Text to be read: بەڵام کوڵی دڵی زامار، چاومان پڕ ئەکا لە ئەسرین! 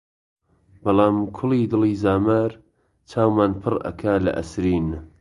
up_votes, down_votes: 2, 0